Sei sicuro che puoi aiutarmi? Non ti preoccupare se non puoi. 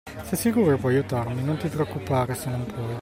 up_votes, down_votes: 2, 0